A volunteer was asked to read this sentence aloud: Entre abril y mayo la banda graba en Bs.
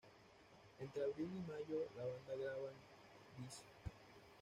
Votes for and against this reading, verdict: 2, 0, accepted